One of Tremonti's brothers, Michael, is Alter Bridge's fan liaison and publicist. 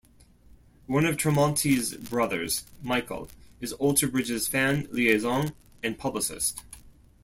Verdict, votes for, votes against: accepted, 2, 0